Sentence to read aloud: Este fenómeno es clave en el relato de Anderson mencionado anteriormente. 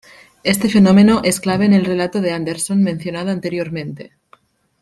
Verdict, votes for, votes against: accepted, 2, 0